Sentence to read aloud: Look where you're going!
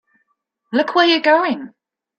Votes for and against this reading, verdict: 2, 0, accepted